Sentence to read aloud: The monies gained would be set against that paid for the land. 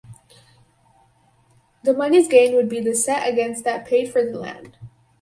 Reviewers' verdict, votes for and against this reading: rejected, 2, 2